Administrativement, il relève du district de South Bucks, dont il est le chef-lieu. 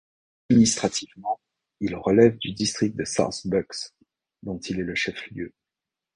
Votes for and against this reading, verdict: 1, 2, rejected